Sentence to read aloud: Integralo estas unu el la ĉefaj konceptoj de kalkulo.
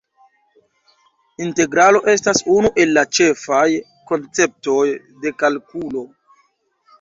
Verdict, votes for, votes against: accepted, 2, 1